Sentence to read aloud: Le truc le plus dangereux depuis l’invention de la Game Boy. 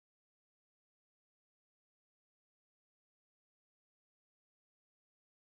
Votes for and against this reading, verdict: 0, 2, rejected